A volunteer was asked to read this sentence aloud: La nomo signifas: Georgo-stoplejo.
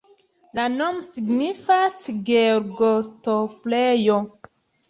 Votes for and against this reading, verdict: 2, 1, accepted